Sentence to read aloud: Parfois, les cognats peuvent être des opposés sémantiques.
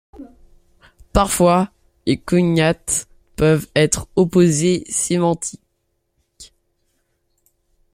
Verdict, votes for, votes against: rejected, 1, 2